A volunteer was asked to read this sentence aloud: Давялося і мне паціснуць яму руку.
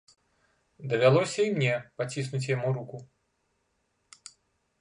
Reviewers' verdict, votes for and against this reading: accepted, 2, 0